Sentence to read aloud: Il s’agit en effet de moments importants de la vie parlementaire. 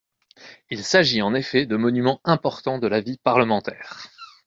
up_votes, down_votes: 0, 2